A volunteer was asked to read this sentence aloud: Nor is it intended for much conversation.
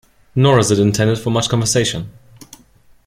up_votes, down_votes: 2, 0